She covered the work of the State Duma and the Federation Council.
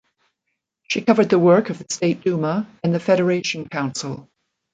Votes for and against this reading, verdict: 3, 0, accepted